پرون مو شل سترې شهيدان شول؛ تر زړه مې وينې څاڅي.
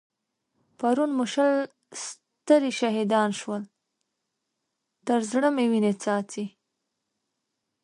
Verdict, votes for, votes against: accepted, 2, 0